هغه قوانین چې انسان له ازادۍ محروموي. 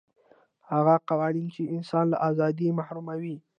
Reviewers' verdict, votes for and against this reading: accepted, 2, 0